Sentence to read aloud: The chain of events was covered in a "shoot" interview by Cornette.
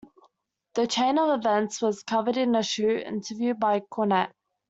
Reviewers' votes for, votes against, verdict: 2, 0, accepted